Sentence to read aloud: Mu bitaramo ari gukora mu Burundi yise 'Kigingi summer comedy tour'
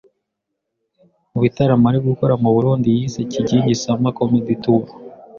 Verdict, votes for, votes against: accepted, 2, 0